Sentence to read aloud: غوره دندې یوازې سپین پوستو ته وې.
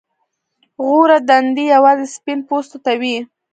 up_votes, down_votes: 0, 2